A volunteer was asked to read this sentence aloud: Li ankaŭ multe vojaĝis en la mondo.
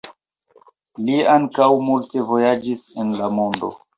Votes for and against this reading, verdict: 2, 0, accepted